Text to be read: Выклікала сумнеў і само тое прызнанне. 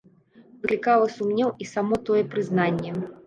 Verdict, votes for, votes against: rejected, 1, 2